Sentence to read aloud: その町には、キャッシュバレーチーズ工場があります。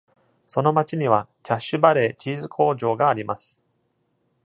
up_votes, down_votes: 2, 0